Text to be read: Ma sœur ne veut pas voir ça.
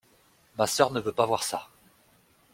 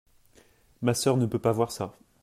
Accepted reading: first